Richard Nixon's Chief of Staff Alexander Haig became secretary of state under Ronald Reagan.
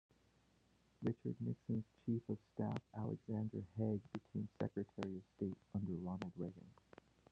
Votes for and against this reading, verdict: 0, 2, rejected